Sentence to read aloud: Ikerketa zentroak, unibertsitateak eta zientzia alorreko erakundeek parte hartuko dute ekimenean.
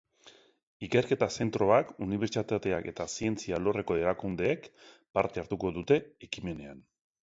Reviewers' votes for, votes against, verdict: 2, 0, accepted